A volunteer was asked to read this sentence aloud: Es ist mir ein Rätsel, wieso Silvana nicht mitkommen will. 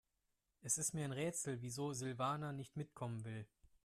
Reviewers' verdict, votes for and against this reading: accepted, 2, 0